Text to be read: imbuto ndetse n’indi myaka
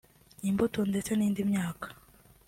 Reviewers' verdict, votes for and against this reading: accepted, 2, 1